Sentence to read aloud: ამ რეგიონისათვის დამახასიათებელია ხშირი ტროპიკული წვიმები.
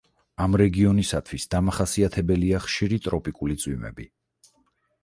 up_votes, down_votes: 4, 0